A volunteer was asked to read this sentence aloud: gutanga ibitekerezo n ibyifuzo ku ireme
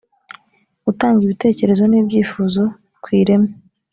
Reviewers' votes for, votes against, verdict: 2, 0, accepted